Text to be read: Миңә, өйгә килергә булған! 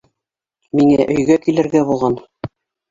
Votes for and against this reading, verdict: 1, 2, rejected